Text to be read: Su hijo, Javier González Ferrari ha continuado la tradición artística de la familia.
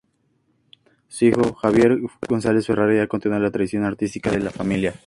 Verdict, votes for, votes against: accepted, 2, 0